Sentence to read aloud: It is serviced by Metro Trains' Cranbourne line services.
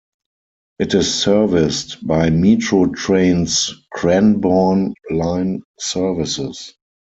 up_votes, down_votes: 4, 2